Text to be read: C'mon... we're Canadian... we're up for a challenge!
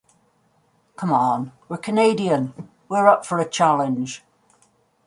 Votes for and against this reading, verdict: 1, 2, rejected